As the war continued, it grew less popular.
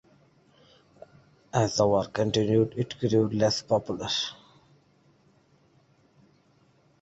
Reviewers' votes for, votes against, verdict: 2, 1, accepted